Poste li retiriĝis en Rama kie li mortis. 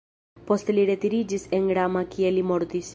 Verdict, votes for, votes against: accepted, 2, 0